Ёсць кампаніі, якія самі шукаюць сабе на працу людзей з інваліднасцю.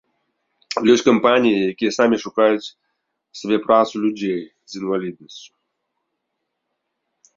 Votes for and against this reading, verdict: 0, 2, rejected